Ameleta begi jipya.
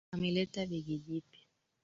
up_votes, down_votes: 3, 2